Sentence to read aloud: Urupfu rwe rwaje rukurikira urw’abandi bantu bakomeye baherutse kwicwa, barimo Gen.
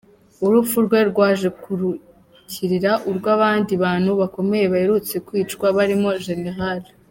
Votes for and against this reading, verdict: 1, 2, rejected